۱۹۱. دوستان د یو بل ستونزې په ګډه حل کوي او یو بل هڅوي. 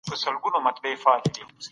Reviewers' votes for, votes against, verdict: 0, 2, rejected